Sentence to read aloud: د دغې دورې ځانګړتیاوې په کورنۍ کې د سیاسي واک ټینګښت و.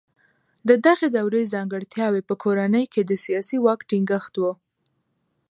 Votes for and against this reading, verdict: 2, 0, accepted